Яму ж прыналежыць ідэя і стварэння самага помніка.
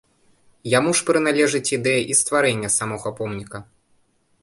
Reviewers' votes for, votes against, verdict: 2, 0, accepted